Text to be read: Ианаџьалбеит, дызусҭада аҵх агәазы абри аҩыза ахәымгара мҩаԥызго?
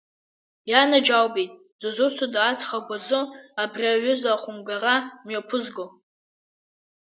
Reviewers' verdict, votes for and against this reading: accepted, 2, 0